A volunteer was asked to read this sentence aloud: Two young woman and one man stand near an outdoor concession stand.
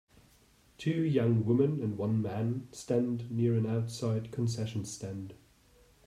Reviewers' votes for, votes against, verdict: 0, 2, rejected